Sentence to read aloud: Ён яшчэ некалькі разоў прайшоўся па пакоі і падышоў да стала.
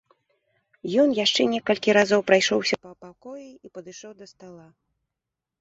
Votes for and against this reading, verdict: 1, 2, rejected